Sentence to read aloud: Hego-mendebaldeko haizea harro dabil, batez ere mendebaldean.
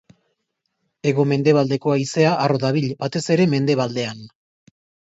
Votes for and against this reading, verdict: 2, 0, accepted